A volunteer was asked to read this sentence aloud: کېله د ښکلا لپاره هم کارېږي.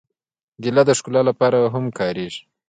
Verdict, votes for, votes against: rejected, 0, 2